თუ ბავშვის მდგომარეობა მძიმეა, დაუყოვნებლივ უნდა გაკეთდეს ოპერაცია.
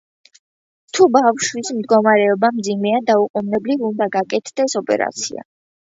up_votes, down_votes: 2, 0